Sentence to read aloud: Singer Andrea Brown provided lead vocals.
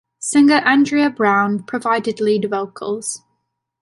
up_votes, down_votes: 3, 0